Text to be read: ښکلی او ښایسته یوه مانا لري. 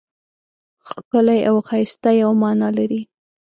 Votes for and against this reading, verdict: 2, 0, accepted